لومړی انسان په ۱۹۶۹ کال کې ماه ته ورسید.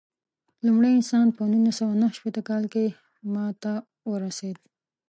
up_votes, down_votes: 0, 2